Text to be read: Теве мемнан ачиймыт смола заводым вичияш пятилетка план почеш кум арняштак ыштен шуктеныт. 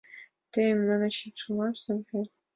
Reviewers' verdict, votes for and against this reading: rejected, 0, 2